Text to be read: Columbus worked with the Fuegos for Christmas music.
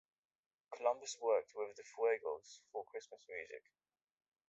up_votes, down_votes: 1, 2